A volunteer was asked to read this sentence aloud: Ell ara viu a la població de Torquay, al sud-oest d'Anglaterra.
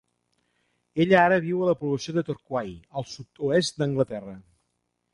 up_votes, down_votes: 0, 2